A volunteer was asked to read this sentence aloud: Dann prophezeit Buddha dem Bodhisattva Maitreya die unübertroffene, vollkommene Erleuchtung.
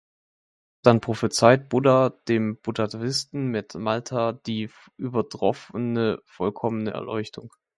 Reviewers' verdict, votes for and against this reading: rejected, 0, 2